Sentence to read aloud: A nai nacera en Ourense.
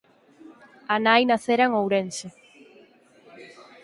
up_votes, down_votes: 6, 0